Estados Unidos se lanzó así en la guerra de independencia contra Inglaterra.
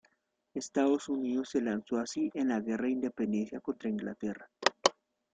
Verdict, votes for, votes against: accepted, 2, 0